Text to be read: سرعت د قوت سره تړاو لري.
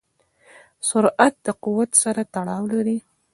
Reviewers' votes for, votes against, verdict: 2, 0, accepted